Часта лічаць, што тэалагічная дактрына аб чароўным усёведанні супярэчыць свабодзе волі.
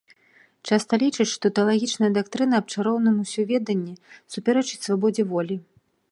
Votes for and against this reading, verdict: 2, 0, accepted